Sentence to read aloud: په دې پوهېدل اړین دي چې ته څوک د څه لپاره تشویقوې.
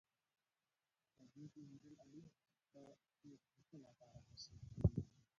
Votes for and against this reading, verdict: 0, 2, rejected